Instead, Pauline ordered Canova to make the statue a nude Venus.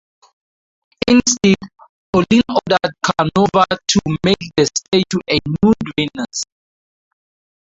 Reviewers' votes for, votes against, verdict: 0, 2, rejected